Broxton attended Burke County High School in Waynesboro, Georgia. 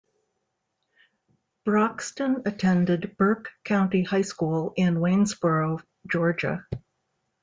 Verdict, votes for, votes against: accepted, 2, 1